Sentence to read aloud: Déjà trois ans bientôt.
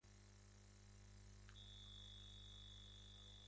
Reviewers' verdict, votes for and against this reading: rejected, 0, 2